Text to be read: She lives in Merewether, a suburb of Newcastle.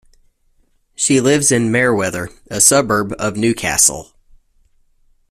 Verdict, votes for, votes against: accepted, 2, 1